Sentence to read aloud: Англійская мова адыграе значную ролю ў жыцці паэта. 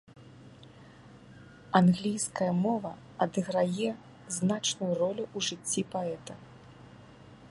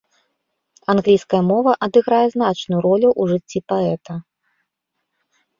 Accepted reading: second